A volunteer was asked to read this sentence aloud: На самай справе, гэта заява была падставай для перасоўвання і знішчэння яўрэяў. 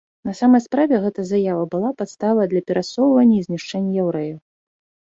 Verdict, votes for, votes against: accepted, 2, 0